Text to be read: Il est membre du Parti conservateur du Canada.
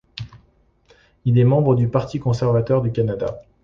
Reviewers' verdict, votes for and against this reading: accepted, 2, 0